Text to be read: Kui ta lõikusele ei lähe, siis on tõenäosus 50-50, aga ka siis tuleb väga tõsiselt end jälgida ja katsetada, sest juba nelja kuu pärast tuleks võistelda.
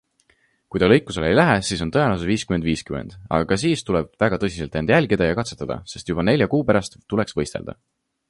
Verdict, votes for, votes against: rejected, 0, 2